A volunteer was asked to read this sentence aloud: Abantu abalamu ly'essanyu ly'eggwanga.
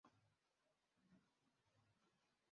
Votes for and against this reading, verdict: 1, 2, rejected